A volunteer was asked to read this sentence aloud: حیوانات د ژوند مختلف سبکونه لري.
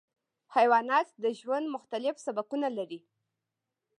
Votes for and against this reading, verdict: 1, 3, rejected